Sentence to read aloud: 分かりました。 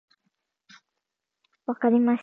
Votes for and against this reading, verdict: 1, 2, rejected